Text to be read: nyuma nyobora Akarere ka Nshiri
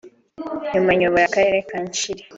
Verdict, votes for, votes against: rejected, 1, 2